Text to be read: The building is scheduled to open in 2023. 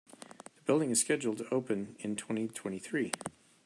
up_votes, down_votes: 0, 2